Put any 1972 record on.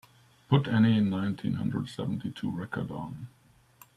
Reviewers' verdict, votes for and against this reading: rejected, 0, 2